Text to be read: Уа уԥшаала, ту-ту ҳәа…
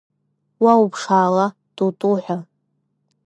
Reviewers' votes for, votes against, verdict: 3, 0, accepted